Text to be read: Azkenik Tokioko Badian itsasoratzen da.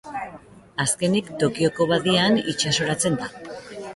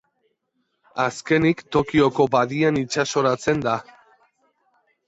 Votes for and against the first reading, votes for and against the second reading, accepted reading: 1, 2, 2, 1, second